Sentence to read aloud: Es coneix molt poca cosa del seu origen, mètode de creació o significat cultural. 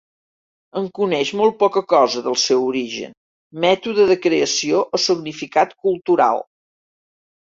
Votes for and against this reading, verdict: 0, 2, rejected